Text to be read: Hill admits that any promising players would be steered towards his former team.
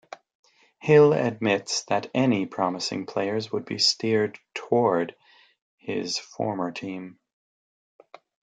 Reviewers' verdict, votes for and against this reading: rejected, 0, 2